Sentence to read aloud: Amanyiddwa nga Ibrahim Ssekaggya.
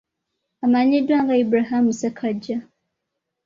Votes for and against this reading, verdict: 1, 2, rejected